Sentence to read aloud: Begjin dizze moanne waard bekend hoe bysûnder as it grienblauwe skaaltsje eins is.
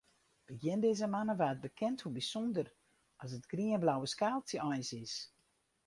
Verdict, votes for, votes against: rejected, 2, 2